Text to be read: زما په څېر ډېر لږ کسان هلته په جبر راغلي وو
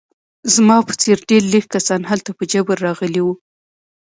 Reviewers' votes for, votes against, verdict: 2, 0, accepted